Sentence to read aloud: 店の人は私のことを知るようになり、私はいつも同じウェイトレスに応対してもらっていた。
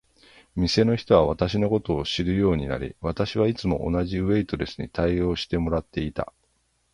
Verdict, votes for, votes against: rejected, 3, 3